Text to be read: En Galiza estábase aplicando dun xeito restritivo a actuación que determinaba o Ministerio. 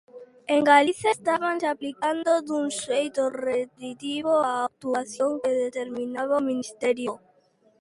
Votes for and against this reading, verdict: 0, 2, rejected